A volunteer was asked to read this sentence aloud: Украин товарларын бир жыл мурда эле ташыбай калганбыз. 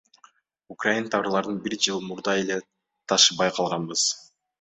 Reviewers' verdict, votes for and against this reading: accepted, 2, 1